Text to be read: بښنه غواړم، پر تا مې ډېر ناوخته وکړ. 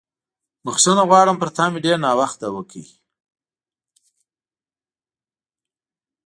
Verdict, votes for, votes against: rejected, 0, 2